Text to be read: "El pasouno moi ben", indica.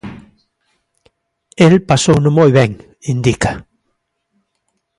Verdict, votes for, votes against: accepted, 3, 0